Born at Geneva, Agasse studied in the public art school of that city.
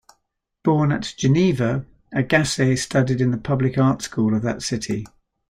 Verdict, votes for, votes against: accepted, 2, 0